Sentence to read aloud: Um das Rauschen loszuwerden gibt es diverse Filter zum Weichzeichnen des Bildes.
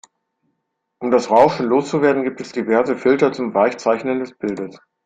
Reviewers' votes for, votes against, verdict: 2, 0, accepted